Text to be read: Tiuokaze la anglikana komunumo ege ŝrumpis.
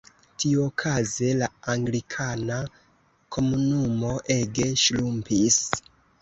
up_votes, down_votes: 1, 3